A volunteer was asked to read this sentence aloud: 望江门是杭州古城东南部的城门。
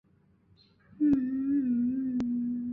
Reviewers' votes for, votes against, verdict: 0, 4, rejected